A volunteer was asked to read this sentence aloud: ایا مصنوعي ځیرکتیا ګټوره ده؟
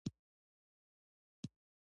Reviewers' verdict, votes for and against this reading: rejected, 0, 2